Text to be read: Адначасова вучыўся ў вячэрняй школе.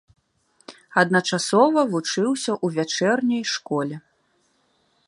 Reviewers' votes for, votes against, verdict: 3, 0, accepted